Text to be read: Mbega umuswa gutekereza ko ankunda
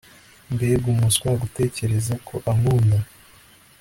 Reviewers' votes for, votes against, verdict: 2, 0, accepted